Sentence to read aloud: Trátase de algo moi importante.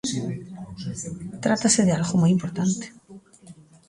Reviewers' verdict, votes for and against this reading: accepted, 2, 0